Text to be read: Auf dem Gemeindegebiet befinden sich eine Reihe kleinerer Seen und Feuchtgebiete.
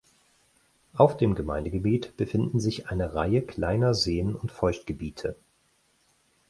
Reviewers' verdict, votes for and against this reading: rejected, 2, 4